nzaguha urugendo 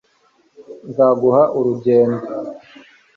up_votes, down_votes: 2, 0